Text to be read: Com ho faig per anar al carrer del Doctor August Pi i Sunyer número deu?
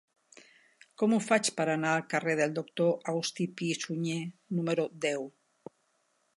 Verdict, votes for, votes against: accepted, 3, 0